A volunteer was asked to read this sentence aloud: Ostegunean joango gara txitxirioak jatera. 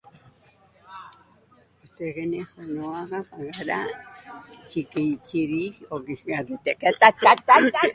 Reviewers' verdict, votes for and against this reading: rejected, 0, 3